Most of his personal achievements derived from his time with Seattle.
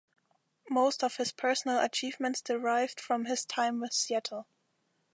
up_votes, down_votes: 2, 0